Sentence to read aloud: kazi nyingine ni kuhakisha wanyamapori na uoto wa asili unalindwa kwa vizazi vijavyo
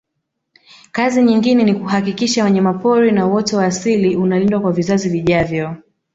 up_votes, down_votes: 1, 2